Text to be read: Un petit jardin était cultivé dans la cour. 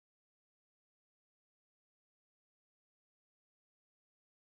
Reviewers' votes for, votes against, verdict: 1, 2, rejected